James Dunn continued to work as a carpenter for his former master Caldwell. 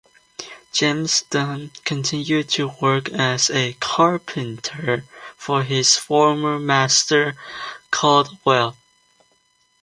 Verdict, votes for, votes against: accepted, 2, 0